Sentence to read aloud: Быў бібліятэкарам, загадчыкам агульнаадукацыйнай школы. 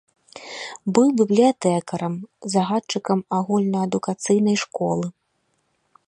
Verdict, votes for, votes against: accepted, 2, 1